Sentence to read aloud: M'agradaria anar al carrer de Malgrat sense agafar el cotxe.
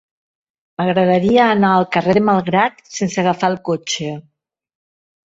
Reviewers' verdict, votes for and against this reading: accepted, 2, 0